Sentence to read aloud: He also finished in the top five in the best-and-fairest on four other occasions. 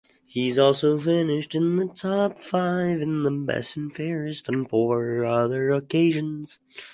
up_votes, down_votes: 0, 2